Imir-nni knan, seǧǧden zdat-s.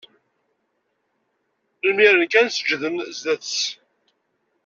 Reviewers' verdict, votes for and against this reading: rejected, 1, 2